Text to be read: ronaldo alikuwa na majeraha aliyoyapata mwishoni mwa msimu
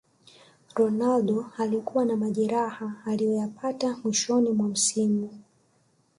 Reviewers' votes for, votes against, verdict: 3, 1, accepted